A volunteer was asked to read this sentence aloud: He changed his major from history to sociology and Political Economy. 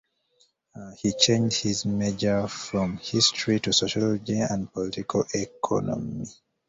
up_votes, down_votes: 2, 0